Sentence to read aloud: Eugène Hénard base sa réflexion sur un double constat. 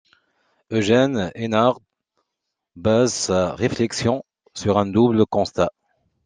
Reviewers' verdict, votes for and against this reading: accepted, 2, 1